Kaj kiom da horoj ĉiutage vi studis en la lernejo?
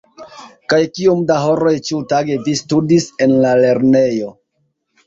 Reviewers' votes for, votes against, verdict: 1, 2, rejected